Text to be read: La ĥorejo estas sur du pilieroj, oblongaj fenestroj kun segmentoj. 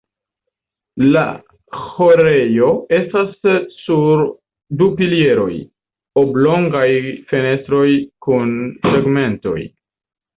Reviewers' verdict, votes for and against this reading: accepted, 2, 0